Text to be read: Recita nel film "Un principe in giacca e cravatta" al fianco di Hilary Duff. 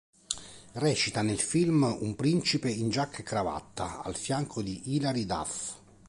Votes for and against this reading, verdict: 3, 0, accepted